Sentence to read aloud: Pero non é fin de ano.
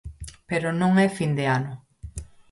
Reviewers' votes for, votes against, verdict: 4, 0, accepted